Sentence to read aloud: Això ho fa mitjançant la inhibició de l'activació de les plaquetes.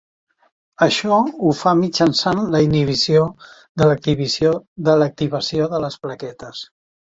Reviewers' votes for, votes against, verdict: 0, 2, rejected